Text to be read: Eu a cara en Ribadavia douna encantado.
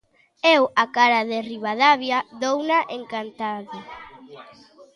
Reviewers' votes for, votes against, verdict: 0, 2, rejected